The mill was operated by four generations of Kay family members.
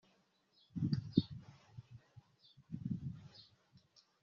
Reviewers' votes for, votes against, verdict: 0, 2, rejected